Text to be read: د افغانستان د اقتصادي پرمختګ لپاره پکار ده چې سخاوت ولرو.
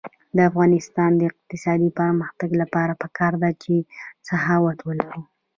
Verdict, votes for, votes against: rejected, 0, 2